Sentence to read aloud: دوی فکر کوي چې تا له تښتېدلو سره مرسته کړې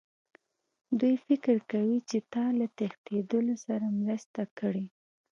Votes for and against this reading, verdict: 2, 0, accepted